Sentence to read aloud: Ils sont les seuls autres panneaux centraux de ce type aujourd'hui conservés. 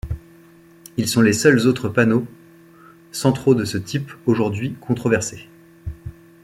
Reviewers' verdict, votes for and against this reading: rejected, 1, 2